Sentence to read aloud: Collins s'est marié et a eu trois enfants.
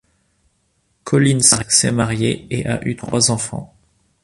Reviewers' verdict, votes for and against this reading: rejected, 1, 2